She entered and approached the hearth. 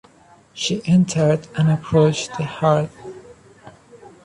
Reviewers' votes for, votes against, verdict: 1, 2, rejected